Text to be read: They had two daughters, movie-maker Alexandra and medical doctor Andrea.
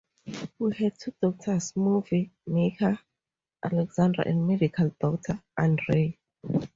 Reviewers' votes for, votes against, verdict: 2, 0, accepted